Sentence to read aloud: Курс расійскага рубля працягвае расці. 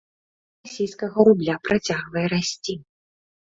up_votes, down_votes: 0, 2